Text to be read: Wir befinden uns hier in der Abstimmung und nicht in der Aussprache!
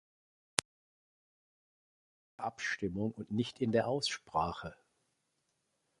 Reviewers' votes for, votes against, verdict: 0, 2, rejected